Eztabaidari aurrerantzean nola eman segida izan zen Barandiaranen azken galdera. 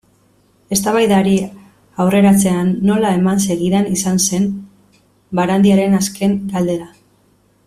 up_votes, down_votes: 1, 2